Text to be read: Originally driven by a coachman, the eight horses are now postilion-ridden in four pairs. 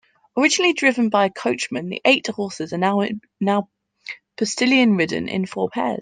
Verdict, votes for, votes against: rejected, 0, 2